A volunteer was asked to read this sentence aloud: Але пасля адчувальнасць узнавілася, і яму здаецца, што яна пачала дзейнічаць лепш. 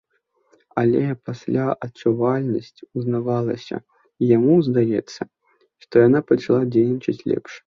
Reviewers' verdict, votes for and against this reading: rejected, 0, 2